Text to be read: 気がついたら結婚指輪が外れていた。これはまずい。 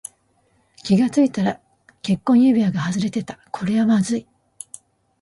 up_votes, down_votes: 0, 2